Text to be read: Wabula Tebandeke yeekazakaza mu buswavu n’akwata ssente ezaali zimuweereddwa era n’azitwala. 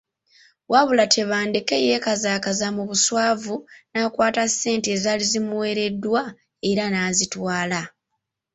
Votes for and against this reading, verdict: 2, 0, accepted